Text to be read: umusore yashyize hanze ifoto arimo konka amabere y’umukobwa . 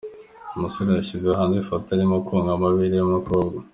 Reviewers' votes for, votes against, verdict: 2, 1, accepted